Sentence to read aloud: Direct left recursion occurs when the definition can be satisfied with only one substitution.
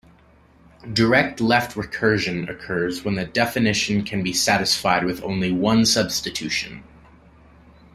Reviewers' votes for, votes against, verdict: 2, 0, accepted